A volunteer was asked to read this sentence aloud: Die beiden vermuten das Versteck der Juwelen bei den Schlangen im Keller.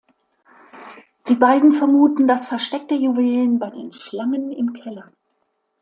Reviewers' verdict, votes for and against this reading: accepted, 2, 0